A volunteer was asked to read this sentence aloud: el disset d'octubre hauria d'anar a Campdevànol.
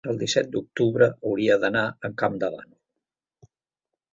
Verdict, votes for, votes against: rejected, 1, 2